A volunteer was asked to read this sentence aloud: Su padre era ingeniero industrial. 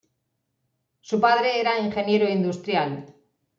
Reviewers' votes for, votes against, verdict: 2, 0, accepted